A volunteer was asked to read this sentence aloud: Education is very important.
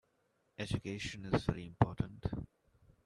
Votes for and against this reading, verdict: 2, 0, accepted